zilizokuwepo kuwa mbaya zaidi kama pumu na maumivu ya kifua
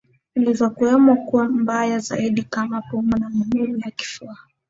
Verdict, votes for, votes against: accepted, 2, 1